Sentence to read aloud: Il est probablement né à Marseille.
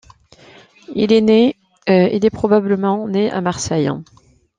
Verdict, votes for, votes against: rejected, 1, 2